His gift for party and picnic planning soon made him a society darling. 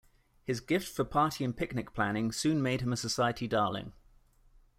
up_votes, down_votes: 2, 0